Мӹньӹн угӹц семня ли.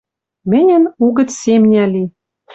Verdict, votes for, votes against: accepted, 2, 0